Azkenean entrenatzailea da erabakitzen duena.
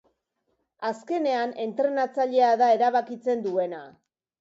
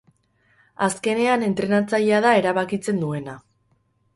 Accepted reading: first